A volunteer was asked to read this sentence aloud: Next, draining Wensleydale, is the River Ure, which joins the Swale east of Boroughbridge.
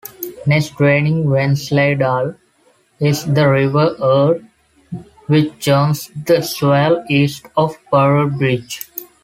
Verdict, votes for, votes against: accepted, 2, 1